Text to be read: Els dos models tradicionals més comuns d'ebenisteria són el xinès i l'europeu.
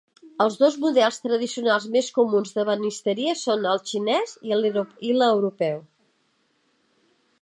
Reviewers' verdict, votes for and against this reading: rejected, 0, 2